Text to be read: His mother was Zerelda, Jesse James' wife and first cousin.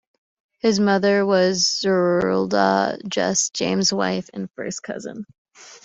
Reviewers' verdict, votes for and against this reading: rejected, 1, 2